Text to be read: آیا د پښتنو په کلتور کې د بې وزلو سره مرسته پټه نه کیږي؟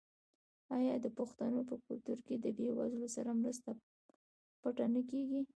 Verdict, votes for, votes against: accepted, 2, 1